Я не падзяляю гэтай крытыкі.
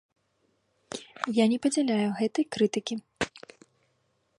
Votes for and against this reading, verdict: 2, 0, accepted